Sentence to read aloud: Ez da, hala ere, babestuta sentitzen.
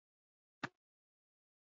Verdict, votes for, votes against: rejected, 0, 6